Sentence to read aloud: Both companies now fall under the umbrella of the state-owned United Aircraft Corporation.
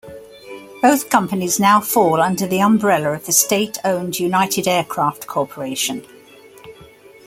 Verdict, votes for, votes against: accepted, 2, 0